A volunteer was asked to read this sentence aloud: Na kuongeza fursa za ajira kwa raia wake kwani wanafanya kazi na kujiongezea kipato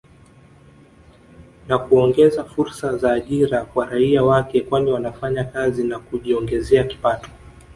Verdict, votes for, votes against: accepted, 6, 0